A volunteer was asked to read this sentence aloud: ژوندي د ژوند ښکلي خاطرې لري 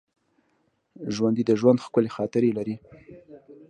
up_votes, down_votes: 2, 0